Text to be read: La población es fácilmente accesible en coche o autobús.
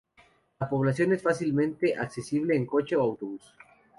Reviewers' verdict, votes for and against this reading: rejected, 0, 2